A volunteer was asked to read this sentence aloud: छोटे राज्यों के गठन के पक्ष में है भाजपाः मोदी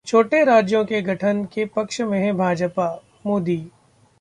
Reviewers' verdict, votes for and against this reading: accepted, 2, 1